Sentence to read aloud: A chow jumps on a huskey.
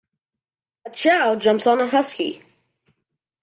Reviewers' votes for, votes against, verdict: 2, 0, accepted